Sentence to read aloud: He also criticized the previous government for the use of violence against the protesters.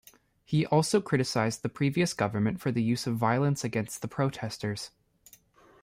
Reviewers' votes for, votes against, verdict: 0, 2, rejected